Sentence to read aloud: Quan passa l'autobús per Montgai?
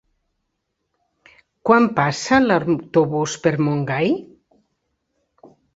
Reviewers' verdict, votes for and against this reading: rejected, 0, 2